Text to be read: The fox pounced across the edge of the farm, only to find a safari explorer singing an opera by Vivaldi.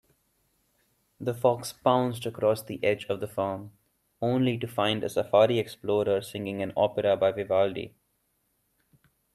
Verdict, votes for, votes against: accepted, 2, 0